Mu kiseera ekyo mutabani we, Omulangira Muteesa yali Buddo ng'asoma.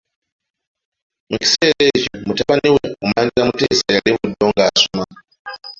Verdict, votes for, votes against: rejected, 0, 2